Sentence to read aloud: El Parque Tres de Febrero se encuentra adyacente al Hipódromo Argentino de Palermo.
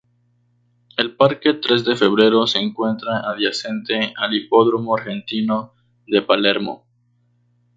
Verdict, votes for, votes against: rejected, 2, 2